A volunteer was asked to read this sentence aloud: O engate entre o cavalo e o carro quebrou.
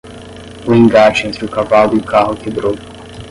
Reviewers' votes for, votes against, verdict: 10, 0, accepted